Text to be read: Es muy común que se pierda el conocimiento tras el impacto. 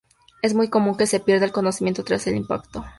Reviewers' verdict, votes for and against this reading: accepted, 2, 0